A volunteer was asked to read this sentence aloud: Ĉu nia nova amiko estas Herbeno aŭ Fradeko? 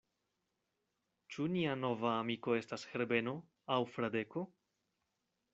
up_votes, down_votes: 2, 0